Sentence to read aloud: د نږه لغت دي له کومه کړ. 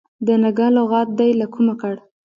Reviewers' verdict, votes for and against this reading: rejected, 1, 2